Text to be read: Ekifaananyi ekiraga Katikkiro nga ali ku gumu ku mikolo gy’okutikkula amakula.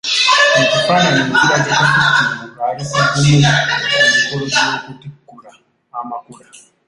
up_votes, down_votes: 0, 2